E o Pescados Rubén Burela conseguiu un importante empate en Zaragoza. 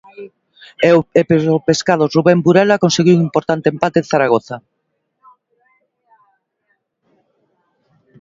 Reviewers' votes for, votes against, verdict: 0, 2, rejected